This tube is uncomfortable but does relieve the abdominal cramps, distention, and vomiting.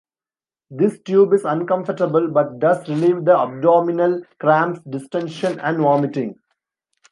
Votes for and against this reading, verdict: 2, 0, accepted